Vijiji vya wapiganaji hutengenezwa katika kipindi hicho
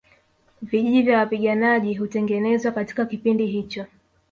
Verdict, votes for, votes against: accepted, 2, 1